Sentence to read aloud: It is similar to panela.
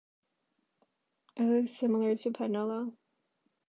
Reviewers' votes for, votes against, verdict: 2, 0, accepted